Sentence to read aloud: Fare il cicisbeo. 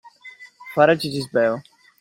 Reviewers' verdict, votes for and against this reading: rejected, 0, 2